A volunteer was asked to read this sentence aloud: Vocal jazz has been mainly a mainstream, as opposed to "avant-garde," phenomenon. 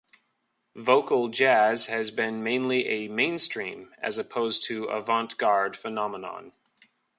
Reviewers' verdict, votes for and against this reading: accepted, 2, 0